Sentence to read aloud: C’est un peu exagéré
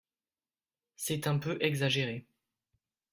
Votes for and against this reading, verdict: 3, 0, accepted